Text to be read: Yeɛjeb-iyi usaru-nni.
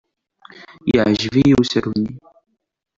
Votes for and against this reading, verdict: 2, 0, accepted